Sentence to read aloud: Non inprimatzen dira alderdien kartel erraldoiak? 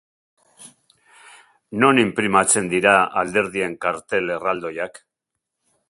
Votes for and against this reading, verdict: 2, 0, accepted